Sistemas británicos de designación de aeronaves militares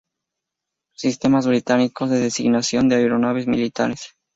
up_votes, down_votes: 2, 0